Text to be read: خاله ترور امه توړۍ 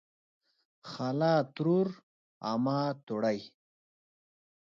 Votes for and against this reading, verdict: 4, 0, accepted